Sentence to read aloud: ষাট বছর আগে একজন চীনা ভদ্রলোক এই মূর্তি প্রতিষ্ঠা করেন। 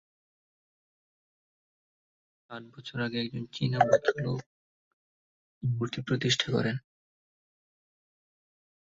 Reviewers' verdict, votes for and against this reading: rejected, 1, 7